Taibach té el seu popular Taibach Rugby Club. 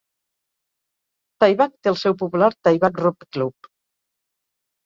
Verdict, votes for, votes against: rejected, 0, 4